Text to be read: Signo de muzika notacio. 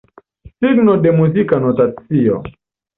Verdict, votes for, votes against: accepted, 2, 0